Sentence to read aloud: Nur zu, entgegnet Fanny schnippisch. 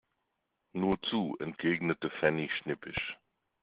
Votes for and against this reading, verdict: 2, 0, accepted